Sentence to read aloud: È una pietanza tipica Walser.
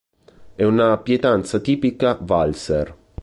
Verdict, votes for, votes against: rejected, 1, 3